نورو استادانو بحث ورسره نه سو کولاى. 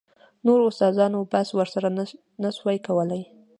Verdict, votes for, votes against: accepted, 2, 0